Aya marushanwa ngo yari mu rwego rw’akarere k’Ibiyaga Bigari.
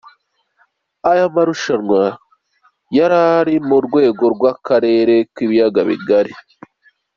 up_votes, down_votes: 2, 0